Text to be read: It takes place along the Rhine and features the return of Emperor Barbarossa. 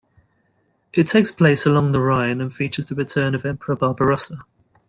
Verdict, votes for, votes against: accepted, 2, 0